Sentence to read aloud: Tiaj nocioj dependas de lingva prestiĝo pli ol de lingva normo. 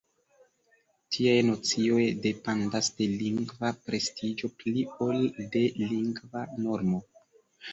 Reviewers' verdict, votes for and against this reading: accepted, 2, 1